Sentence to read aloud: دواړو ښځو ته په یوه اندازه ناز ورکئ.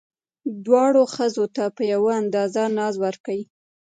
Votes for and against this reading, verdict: 1, 2, rejected